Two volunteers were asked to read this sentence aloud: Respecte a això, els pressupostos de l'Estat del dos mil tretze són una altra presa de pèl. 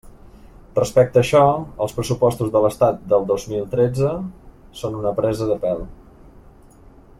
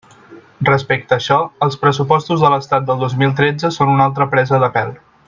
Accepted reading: second